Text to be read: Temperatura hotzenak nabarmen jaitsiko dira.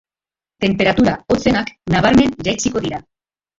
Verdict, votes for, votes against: accepted, 2, 1